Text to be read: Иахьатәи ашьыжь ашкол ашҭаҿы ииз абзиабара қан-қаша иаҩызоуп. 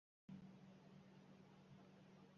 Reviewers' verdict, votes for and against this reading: rejected, 0, 2